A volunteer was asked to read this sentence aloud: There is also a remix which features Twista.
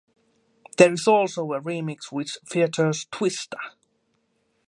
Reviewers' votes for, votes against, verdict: 0, 2, rejected